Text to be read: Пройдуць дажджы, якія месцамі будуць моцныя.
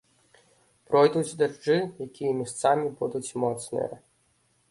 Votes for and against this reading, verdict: 0, 2, rejected